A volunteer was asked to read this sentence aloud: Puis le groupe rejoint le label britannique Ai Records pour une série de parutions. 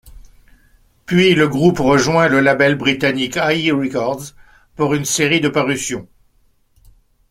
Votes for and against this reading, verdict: 2, 0, accepted